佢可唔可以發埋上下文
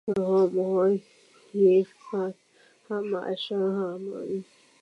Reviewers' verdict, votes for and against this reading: rejected, 0, 2